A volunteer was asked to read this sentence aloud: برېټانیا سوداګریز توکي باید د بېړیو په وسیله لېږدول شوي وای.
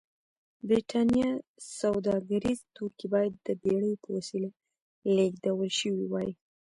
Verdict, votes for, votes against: rejected, 1, 2